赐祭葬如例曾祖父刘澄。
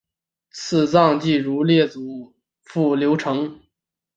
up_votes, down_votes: 1, 3